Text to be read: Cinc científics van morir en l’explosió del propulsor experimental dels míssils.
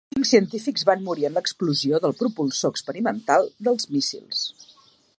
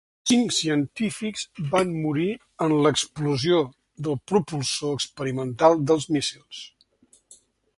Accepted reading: second